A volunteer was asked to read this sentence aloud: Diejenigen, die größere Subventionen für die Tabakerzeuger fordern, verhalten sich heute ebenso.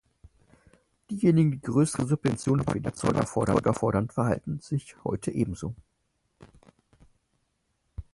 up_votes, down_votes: 0, 4